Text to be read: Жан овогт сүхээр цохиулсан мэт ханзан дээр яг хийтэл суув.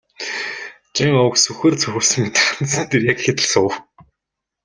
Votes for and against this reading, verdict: 0, 2, rejected